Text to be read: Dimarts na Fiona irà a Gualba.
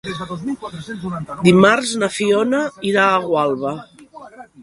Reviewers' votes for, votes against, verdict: 0, 2, rejected